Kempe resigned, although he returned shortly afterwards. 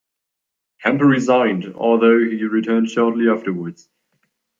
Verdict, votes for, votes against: accepted, 2, 0